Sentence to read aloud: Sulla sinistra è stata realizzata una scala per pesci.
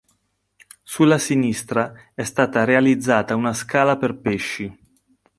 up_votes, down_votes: 3, 0